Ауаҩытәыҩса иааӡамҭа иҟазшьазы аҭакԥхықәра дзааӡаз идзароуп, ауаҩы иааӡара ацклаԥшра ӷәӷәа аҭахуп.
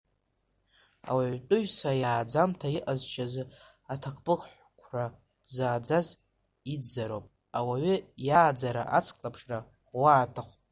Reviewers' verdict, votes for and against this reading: rejected, 1, 2